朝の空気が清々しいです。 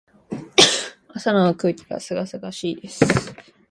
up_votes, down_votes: 1, 2